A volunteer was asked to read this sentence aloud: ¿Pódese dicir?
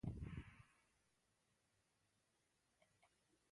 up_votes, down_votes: 0, 2